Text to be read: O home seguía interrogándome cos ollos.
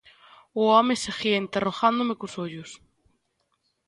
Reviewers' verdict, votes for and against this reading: accepted, 2, 0